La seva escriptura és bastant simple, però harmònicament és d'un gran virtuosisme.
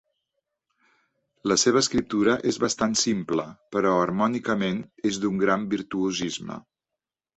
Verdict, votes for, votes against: accepted, 2, 0